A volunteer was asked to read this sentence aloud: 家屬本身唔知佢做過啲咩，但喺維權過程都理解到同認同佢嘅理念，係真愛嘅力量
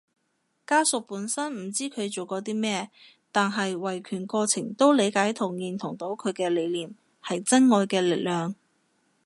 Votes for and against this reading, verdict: 1, 2, rejected